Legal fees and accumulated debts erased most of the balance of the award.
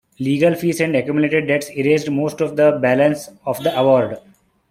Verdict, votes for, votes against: rejected, 1, 2